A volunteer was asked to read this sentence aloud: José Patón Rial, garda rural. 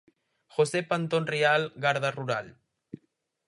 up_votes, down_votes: 0, 4